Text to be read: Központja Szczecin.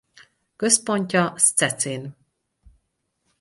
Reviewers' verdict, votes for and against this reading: rejected, 2, 2